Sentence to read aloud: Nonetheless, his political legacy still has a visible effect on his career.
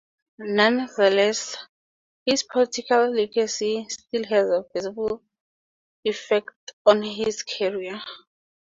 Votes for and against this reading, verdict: 4, 0, accepted